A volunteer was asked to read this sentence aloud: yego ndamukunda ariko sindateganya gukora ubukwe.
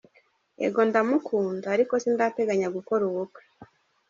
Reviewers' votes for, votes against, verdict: 2, 0, accepted